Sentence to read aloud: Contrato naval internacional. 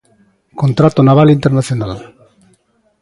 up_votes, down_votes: 2, 0